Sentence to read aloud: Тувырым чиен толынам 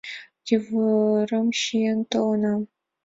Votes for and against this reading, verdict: 2, 0, accepted